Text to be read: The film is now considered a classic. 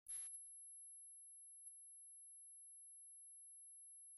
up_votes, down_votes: 0, 2